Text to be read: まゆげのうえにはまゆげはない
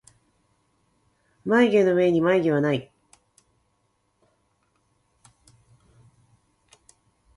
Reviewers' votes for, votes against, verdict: 2, 0, accepted